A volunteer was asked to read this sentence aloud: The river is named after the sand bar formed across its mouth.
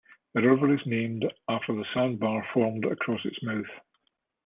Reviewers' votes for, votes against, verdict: 2, 0, accepted